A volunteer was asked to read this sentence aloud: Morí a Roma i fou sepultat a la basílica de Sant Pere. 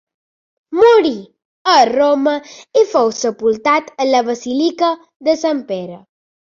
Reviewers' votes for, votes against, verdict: 1, 2, rejected